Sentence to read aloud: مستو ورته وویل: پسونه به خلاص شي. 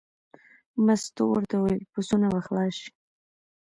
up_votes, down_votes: 1, 2